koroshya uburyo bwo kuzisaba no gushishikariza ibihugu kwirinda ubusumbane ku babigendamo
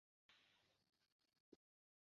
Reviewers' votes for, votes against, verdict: 0, 2, rejected